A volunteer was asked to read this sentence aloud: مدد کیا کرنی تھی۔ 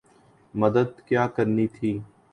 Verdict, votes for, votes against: accepted, 3, 0